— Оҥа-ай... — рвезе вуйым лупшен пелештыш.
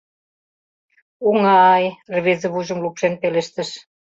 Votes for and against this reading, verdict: 0, 2, rejected